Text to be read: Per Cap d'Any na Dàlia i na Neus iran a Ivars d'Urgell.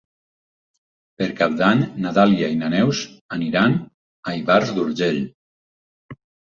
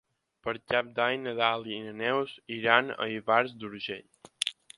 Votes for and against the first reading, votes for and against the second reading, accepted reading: 2, 4, 6, 0, second